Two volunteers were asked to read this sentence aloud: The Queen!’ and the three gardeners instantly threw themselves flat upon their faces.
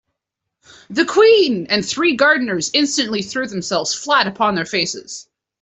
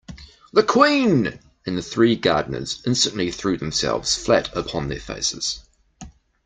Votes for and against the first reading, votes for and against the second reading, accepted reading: 1, 2, 2, 0, second